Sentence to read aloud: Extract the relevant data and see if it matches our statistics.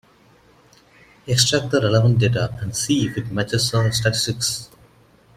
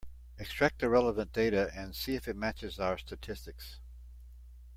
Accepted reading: second